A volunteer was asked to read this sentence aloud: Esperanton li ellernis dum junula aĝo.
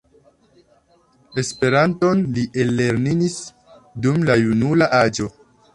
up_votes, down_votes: 0, 2